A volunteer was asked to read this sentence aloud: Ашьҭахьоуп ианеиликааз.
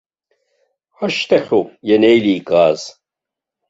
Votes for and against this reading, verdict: 1, 2, rejected